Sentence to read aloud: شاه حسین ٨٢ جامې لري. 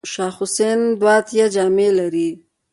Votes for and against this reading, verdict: 0, 2, rejected